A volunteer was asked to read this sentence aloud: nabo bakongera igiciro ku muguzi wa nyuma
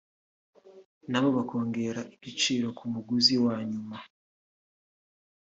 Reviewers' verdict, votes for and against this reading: rejected, 1, 2